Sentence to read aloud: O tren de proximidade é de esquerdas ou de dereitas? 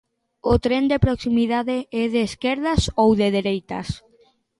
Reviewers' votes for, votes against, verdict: 2, 1, accepted